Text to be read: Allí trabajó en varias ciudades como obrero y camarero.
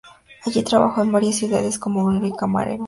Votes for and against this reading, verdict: 0, 2, rejected